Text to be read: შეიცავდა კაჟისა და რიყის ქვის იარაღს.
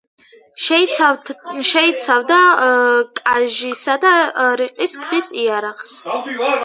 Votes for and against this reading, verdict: 0, 2, rejected